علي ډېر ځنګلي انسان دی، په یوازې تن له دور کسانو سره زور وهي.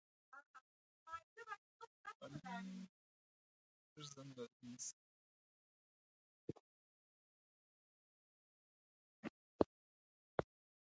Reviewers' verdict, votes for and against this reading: rejected, 0, 2